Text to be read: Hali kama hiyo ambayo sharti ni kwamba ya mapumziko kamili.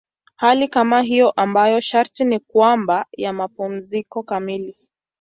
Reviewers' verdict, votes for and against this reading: accepted, 2, 0